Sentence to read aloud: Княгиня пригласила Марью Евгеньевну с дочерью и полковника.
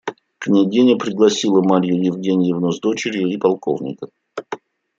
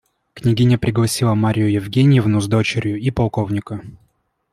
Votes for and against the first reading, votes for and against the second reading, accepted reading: 1, 2, 2, 0, second